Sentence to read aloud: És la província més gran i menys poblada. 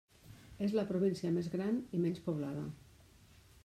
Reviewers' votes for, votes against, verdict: 3, 1, accepted